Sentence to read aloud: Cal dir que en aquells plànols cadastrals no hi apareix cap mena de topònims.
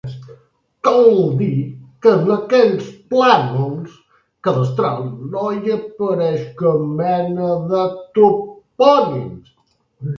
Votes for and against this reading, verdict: 1, 2, rejected